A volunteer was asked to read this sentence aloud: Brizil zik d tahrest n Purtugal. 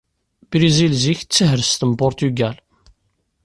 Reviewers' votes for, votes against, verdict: 2, 0, accepted